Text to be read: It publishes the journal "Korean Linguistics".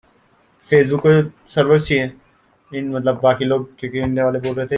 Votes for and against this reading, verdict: 0, 2, rejected